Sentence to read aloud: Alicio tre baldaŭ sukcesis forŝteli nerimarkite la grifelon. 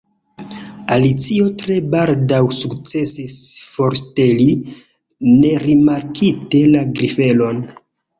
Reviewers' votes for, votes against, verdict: 0, 2, rejected